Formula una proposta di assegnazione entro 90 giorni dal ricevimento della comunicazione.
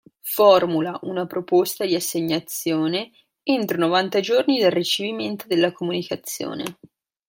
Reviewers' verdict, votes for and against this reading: rejected, 0, 2